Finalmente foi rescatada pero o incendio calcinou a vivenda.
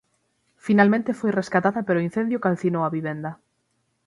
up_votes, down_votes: 6, 0